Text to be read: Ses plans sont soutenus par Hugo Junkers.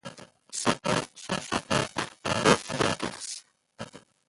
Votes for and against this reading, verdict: 0, 2, rejected